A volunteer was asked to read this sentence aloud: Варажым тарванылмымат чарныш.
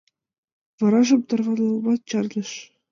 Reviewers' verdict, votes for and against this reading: rejected, 2, 4